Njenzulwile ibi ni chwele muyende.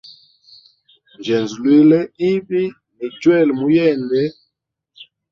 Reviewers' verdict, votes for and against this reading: accepted, 2, 0